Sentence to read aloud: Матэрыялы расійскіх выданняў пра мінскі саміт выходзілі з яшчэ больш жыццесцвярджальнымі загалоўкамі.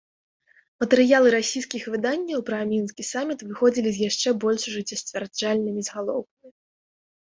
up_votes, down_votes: 2, 1